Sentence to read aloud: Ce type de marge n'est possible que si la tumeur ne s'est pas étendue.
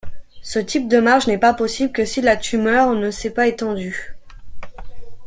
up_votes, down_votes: 1, 2